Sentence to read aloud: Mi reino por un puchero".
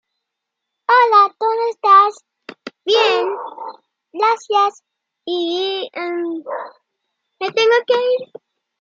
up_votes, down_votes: 0, 2